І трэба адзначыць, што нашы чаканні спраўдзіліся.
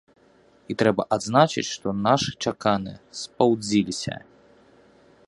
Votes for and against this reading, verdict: 0, 2, rejected